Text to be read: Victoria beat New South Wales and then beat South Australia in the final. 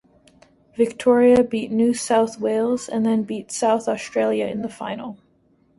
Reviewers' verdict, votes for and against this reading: accepted, 2, 0